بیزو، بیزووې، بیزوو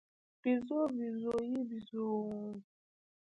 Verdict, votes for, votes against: rejected, 0, 2